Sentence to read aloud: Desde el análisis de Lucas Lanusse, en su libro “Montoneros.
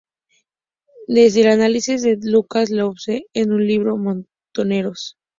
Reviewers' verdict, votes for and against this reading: accepted, 4, 0